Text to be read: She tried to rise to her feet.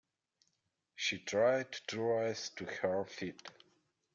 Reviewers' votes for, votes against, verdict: 1, 2, rejected